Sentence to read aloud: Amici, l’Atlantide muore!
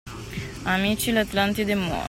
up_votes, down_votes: 0, 2